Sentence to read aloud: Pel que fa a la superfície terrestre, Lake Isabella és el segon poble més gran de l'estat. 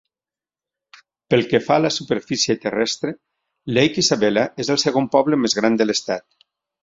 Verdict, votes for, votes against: accepted, 3, 0